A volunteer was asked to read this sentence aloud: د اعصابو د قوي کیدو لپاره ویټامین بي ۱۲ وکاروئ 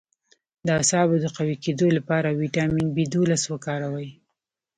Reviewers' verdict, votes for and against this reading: rejected, 0, 2